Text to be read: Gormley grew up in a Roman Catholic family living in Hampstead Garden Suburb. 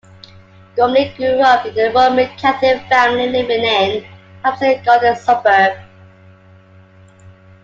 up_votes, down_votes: 2, 0